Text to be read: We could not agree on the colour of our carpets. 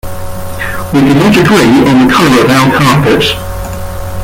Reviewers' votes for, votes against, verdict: 0, 2, rejected